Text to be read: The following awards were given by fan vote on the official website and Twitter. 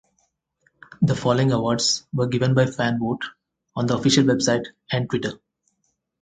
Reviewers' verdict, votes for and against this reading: accepted, 4, 0